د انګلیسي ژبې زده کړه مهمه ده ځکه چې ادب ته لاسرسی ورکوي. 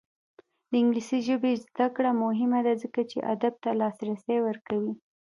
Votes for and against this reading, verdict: 2, 0, accepted